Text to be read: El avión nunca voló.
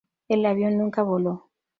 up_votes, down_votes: 2, 0